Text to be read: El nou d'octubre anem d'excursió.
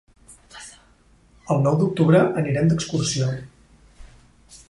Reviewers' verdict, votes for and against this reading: rejected, 0, 2